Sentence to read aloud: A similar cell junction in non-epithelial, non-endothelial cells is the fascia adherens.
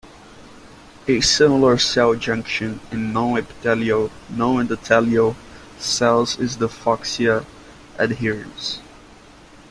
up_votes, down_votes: 1, 2